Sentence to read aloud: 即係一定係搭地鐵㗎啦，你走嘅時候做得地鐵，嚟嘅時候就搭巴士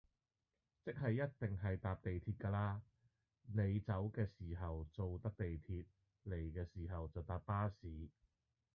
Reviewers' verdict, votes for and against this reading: rejected, 1, 2